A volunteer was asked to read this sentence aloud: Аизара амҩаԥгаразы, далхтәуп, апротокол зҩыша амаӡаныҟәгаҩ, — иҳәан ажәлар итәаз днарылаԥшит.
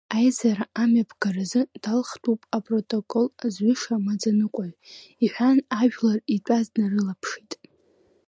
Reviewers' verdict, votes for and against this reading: accepted, 2, 1